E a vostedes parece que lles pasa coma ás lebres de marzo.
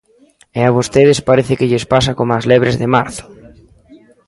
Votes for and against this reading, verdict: 1, 2, rejected